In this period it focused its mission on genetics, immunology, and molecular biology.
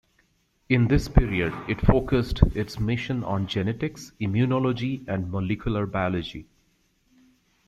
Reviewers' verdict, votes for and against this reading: accepted, 2, 0